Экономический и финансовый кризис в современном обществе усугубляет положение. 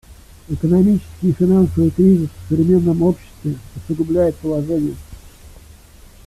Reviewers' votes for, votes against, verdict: 1, 2, rejected